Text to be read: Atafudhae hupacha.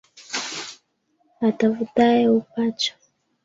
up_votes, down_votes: 1, 2